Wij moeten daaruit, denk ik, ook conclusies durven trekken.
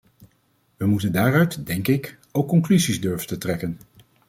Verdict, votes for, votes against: rejected, 1, 2